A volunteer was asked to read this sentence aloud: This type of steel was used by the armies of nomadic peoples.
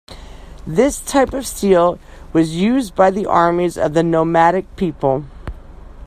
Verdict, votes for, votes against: rejected, 1, 2